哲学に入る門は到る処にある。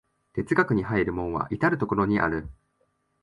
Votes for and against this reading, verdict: 7, 0, accepted